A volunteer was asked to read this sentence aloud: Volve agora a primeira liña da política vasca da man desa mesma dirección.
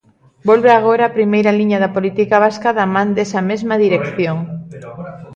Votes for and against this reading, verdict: 2, 0, accepted